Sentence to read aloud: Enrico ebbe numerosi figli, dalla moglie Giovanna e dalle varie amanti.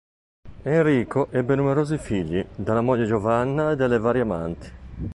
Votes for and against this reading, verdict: 2, 0, accepted